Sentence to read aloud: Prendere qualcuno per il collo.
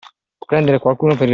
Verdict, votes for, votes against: rejected, 0, 2